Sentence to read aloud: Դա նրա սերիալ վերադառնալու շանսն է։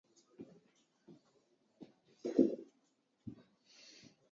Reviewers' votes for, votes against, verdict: 0, 3, rejected